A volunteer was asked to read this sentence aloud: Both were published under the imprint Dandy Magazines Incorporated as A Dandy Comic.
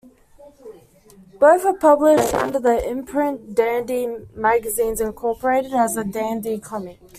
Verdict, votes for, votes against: accepted, 2, 1